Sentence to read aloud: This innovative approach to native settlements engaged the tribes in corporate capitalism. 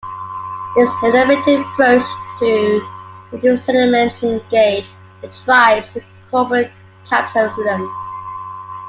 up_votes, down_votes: 0, 3